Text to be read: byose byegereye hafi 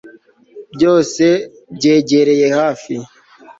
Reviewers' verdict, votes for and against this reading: accepted, 3, 0